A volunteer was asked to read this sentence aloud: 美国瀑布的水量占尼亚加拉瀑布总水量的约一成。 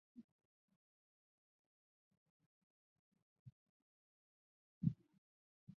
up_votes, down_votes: 1, 2